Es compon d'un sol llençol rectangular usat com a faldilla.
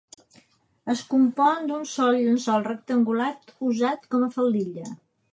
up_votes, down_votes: 2, 0